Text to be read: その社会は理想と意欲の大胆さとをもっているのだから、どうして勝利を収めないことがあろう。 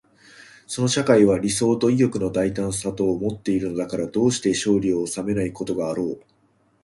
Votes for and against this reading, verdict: 2, 0, accepted